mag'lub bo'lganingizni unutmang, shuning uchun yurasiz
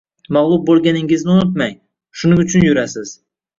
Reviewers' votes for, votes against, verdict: 2, 0, accepted